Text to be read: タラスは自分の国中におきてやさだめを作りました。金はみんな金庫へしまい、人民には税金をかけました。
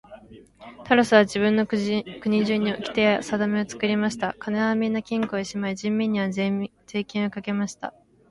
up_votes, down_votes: 1, 2